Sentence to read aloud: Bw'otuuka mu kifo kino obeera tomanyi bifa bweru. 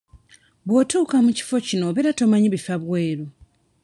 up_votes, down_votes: 2, 1